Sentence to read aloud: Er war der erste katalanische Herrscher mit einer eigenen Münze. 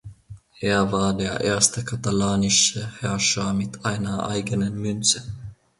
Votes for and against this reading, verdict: 2, 0, accepted